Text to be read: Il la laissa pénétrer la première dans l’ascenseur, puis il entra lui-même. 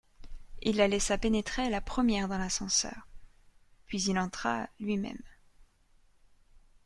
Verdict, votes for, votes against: accepted, 2, 0